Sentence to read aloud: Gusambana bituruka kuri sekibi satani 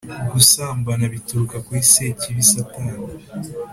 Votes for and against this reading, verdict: 3, 0, accepted